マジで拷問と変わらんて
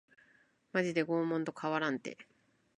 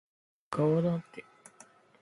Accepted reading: first